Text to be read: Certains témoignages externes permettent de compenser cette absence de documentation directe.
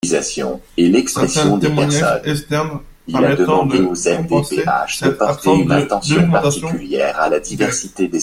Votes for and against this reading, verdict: 0, 2, rejected